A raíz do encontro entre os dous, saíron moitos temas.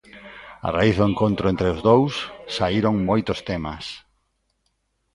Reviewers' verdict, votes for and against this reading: accepted, 2, 0